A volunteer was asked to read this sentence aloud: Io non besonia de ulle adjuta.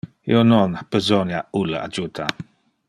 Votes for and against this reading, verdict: 1, 2, rejected